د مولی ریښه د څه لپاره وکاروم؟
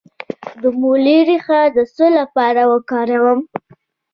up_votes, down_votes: 1, 2